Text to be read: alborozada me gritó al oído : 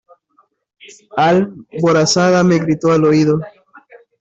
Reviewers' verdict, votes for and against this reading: rejected, 0, 2